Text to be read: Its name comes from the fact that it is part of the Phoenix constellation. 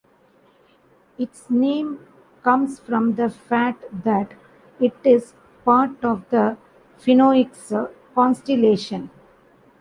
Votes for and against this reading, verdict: 1, 2, rejected